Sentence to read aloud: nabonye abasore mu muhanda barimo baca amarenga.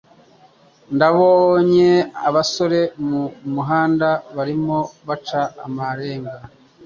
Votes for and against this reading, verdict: 1, 2, rejected